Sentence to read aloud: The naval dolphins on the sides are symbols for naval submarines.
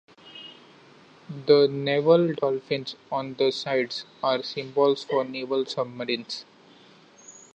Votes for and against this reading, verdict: 2, 1, accepted